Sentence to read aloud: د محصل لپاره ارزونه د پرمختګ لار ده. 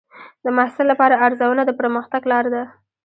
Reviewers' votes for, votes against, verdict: 2, 1, accepted